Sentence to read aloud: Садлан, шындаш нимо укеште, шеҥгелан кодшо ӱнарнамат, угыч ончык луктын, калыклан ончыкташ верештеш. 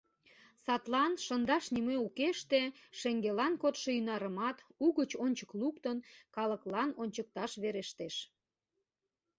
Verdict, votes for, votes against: rejected, 1, 2